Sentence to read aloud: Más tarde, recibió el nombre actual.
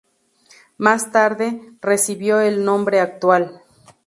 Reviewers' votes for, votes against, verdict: 2, 0, accepted